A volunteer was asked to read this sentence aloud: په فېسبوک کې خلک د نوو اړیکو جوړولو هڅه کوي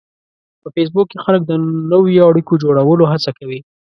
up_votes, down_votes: 2, 0